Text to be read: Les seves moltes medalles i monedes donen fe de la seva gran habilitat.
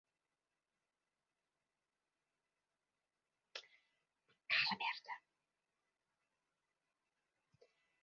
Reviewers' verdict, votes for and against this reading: rejected, 0, 2